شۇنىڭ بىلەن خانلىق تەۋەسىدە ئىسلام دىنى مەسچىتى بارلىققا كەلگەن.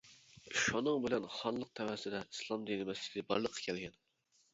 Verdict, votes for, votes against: accepted, 2, 0